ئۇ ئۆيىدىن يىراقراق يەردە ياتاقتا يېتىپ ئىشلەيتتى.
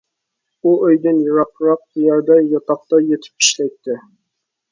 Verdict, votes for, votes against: accepted, 2, 1